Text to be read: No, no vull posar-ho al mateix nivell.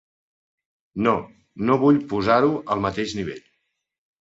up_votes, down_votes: 3, 0